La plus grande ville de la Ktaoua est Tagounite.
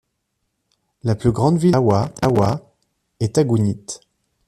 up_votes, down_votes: 0, 2